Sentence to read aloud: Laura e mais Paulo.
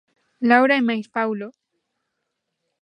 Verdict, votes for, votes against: accepted, 2, 0